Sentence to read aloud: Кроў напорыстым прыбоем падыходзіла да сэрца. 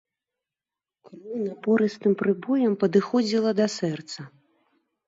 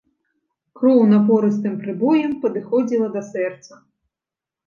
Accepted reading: second